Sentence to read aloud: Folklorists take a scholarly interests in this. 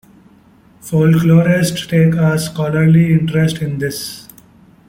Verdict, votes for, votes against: rejected, 1, 2